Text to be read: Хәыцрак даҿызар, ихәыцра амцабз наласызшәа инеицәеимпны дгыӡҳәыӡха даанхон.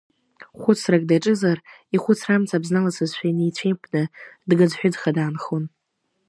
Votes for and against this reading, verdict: 2, 0, accepted